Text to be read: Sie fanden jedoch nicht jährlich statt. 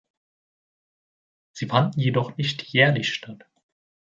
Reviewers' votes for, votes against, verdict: 2, 0, accepted